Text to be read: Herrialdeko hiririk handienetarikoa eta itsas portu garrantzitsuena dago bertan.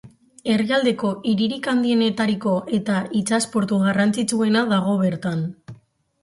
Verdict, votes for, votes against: accepted, 4, 2